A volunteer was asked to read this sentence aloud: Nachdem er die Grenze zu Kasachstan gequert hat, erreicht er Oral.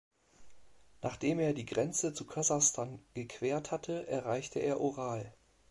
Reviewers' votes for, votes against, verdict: 1, 2, rejected